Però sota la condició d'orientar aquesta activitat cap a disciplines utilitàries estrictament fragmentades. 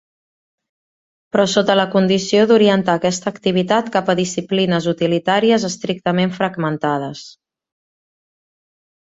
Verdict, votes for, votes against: accepted, 4, 0